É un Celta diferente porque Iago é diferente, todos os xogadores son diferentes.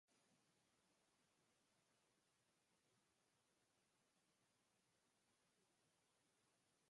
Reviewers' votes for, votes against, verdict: 0, 2, rejected